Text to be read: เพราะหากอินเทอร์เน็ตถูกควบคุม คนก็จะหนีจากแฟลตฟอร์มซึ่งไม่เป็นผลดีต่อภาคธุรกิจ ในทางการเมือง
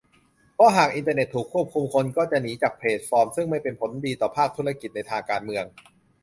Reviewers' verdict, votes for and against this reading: rejected, 1, 2